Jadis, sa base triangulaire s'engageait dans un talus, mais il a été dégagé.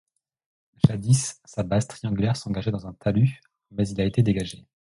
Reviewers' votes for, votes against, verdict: 2, 0, accepted